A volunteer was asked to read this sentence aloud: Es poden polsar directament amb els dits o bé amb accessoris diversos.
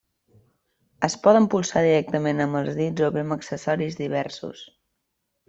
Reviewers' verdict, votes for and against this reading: accepted, 2, 0